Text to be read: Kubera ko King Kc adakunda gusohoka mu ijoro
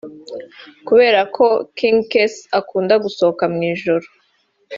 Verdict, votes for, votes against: accepted, 2, 1